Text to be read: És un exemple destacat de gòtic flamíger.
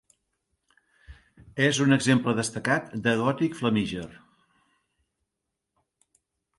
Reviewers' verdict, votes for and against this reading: accepted, 2, 0